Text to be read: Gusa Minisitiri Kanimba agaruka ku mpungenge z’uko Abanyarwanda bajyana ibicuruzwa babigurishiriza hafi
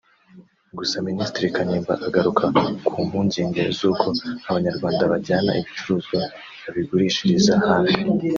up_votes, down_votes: 1, 2